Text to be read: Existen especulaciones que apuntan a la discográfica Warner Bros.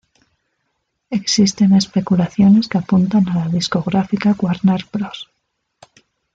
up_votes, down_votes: 2, 0